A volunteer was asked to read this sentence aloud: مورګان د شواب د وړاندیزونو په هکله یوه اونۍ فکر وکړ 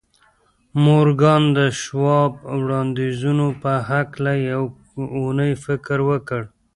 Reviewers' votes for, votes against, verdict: 1, 2, rejected